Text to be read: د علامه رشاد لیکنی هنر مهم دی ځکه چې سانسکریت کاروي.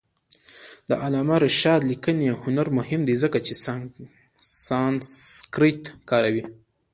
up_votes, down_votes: 2, 1